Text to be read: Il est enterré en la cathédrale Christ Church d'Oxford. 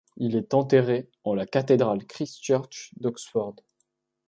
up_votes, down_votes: 3, 0